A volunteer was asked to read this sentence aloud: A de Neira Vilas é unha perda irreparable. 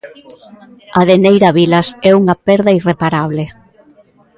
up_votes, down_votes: 2, 1